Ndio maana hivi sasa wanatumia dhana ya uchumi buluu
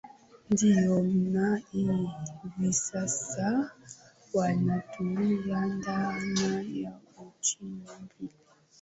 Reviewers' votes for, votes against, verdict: 1, 4, rejected